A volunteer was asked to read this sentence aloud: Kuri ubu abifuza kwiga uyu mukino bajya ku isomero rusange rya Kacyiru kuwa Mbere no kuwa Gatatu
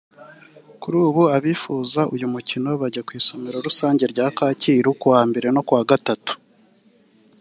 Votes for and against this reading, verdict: 1, 2, rejected